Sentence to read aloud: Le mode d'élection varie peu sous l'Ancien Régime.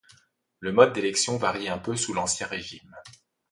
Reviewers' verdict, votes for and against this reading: accepted, 2, 0